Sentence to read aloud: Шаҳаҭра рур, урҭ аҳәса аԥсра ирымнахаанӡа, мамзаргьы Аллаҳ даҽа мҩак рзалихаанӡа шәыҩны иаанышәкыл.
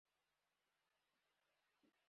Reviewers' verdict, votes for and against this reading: rejected, 0, 3